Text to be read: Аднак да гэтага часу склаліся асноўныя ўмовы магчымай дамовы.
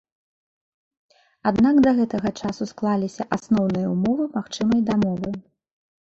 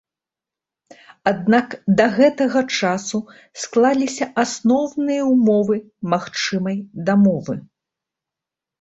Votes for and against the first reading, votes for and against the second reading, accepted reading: 2, 0, 1, 2, first